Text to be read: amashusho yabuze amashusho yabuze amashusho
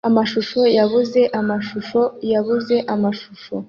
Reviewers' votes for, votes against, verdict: 2, 0, accepted